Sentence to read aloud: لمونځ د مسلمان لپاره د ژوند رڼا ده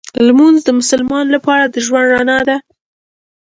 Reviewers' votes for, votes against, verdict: 2, 0, accepted